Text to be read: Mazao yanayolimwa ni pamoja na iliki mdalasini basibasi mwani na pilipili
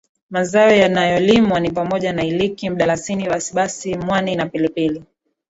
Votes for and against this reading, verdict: 2, 0, accepted